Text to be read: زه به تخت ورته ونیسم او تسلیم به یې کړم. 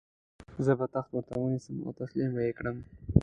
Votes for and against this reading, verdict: 2, 0, accepted